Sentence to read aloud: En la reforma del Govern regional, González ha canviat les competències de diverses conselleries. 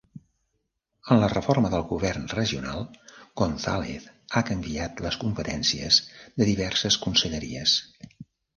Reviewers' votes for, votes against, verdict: 3, 0, accepted